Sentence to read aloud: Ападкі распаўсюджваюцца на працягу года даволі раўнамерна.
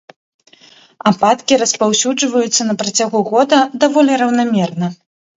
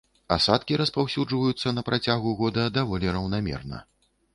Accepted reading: first